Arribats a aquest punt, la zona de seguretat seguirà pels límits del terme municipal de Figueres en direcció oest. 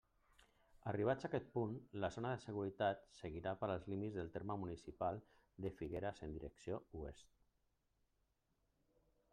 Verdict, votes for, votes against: rejected, 1, 2